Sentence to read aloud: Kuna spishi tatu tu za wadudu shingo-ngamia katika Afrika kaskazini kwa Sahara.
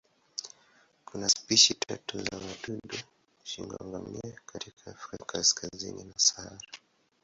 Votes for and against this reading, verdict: 10, 14, rejected